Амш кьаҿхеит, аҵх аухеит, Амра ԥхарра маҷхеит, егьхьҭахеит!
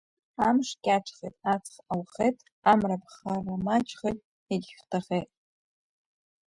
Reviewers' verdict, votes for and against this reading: rejected, 0, 2